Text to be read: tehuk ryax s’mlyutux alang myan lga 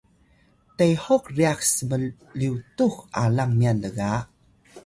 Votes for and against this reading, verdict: 0, 2, rejected